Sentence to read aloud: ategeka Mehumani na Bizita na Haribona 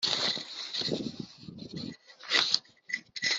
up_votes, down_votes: 0, 2